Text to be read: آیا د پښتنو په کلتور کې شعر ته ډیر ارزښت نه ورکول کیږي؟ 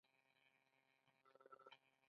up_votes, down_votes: 0, 2